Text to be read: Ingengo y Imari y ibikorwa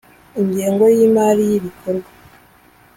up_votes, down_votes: 3, 0